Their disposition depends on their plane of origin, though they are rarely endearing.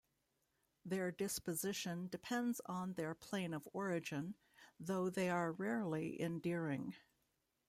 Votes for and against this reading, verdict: 2, 0, accepted